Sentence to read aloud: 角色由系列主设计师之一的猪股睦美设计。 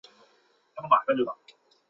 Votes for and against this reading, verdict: 0, 3, rejected